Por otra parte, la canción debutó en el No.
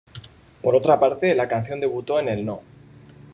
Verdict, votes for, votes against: accepted, 2, 0